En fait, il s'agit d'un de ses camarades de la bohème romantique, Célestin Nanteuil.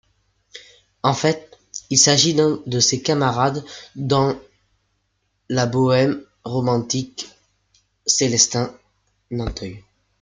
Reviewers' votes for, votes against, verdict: 1, 2, rejected